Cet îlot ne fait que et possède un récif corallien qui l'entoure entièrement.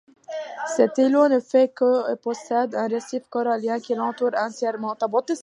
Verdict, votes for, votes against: rejected, 0, 2